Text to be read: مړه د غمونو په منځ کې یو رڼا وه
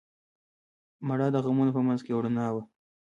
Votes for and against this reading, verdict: 0, 3, rejected